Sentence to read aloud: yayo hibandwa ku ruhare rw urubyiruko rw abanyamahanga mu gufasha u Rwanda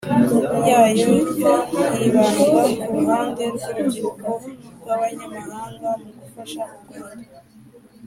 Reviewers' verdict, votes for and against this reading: rejected, 1, 2